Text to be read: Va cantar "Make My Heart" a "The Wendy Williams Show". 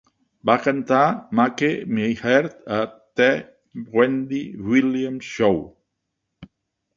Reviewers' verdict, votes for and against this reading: rejected, 1, 3